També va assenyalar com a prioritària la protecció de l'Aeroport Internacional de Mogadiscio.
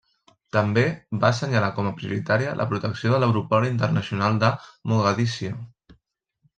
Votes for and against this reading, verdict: 2, 0, accepted